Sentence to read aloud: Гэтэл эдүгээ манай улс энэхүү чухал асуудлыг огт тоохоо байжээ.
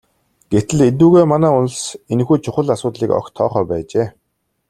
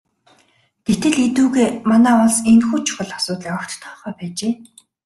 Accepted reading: first